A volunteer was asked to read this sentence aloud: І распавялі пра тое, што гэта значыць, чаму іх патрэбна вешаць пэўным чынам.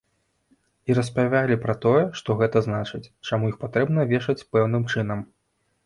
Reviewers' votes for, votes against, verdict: 0, 2, rejected